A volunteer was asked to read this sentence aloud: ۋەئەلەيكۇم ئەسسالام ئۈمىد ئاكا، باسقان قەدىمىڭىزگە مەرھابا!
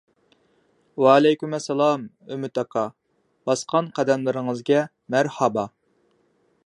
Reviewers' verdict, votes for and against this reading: rejected, 1, 2